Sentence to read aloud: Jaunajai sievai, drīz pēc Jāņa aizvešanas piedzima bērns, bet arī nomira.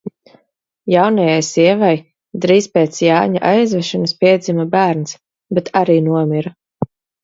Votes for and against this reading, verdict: 2, 0, accepted